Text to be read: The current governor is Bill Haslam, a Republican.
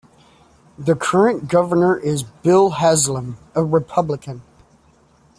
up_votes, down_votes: 0, 2